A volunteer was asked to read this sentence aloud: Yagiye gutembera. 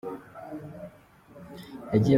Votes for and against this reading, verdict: 0, 2, rejected